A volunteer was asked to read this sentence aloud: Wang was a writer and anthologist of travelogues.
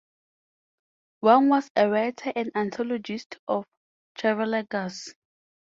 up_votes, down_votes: 0, 4